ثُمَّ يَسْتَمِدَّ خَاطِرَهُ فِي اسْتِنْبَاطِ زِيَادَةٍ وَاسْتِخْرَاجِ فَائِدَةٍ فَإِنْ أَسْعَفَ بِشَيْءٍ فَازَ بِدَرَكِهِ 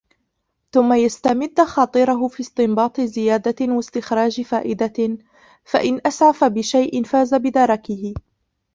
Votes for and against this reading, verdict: 0, 2, rejected